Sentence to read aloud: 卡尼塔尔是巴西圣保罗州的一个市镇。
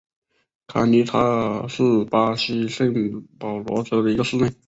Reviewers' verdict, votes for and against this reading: accepted, 2, 1